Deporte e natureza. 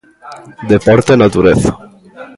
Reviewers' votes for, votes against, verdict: 2, 0, accepted